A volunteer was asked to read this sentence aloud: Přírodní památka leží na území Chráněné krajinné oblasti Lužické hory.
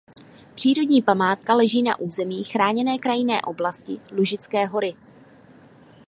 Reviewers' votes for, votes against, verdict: 2, 0, accepted